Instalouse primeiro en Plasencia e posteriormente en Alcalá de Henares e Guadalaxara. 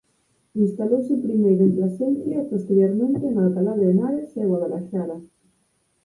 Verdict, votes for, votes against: accepted, 6, 4